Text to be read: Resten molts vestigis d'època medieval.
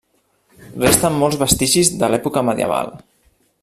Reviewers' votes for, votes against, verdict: 1, 2, rejected